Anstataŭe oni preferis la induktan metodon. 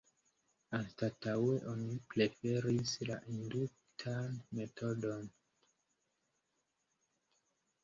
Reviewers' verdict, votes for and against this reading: rejected, 2, 4